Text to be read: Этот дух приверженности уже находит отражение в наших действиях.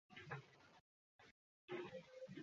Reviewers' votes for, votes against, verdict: 0, 2, rejected